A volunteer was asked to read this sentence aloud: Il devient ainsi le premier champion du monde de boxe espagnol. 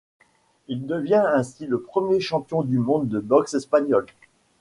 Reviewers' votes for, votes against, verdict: 1, 2, rejected